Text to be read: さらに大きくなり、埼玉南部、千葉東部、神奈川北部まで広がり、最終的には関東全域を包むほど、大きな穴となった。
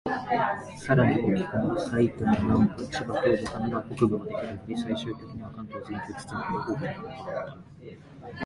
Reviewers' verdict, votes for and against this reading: rejected, 0, 2